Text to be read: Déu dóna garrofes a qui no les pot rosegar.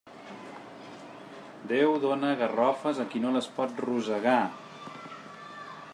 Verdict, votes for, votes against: accepted, 3, 0